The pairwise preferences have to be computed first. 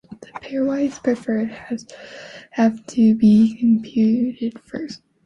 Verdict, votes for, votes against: rejected, 0, 2